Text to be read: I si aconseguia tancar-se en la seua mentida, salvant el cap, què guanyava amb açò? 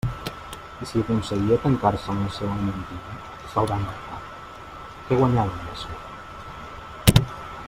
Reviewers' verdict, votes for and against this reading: rejected, 1, 2